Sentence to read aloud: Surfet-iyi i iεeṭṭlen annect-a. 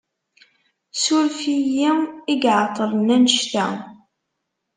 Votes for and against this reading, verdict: 1, 2, rejected